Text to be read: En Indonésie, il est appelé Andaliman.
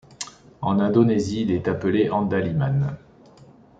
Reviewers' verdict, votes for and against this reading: rejected, 1, 2